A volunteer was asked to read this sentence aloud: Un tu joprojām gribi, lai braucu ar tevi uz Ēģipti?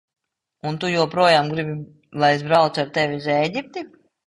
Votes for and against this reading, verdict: 0, 2, rejected